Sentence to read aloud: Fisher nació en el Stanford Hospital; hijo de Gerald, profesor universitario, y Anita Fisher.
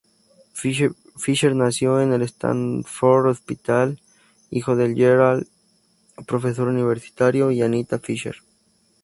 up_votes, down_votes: 4, 0